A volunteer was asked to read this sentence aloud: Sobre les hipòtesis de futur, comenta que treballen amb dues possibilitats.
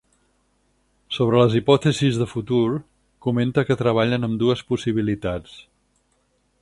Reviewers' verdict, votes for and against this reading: accepted, 4, 0